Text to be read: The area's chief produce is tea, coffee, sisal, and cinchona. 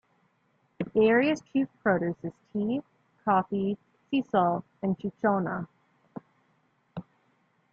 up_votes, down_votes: 1, 2